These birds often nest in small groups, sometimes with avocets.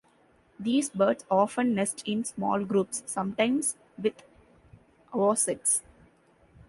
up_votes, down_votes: 3, 1